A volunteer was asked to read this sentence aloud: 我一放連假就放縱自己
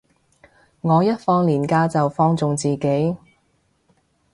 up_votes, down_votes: 3, 0